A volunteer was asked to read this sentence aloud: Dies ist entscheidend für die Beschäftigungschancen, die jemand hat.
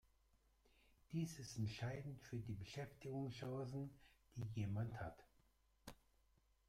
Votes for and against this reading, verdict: 0, 2, rejected